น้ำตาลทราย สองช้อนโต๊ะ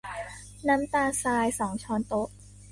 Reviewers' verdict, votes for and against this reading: accepted, 2, 1